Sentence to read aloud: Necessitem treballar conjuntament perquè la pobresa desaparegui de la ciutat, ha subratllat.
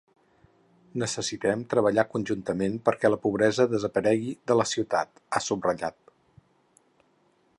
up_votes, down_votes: 6, 0